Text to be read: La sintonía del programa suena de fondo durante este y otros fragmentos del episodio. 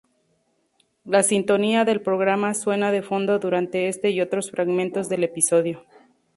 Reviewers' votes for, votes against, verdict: 0, 2, rejected